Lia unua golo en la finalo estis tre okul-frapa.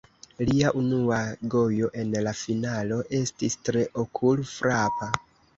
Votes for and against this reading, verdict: 1, 2, rejected